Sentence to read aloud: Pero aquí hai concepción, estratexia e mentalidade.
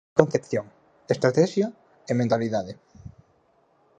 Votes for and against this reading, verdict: 0, 4, rejected